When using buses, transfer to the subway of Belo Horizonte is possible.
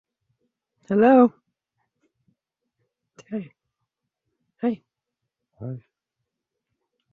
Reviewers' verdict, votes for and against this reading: rejected, 0, 2